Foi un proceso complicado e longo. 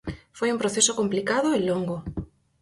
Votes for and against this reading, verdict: 4, 0, accepted